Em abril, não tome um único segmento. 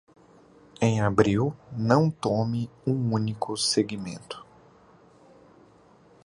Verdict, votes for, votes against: accepted, 2, 0